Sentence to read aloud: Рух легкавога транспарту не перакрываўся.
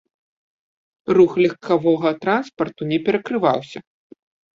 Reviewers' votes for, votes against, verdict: 2, 0, accepted